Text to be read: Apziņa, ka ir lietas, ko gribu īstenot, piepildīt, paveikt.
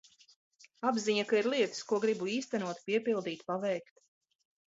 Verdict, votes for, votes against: rejected, 1, 2